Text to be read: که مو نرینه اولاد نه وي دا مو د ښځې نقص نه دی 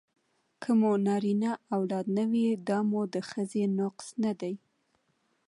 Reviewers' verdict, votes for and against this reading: accepted, 2, 0